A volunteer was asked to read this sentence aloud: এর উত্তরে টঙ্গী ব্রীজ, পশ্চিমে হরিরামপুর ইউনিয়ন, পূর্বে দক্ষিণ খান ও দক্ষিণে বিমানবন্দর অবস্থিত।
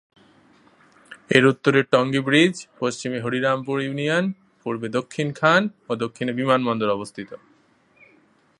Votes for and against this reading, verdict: 2, 0, accepted